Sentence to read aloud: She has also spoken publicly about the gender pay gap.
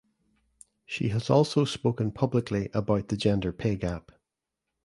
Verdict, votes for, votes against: accepted, 3, 0